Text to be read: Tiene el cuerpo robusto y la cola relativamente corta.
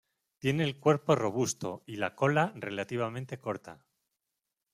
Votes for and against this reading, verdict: 2, 0, accepted